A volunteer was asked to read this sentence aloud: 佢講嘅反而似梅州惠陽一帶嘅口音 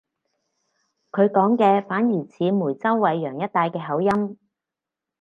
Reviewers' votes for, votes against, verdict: 4, 0, accepted